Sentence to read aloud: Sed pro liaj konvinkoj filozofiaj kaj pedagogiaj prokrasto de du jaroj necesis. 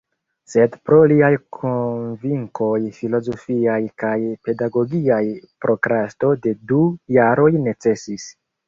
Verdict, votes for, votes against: rejected, 1, 2